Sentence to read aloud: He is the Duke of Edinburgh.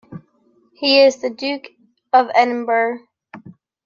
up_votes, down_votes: 1, 2